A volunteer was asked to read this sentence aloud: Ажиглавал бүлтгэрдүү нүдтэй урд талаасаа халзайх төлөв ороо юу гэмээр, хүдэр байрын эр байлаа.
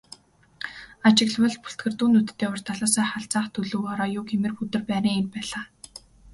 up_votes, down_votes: 1, 2